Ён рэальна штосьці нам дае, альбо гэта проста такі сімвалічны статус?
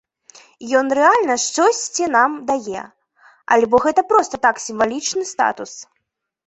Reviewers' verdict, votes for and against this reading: rejected, 0, 2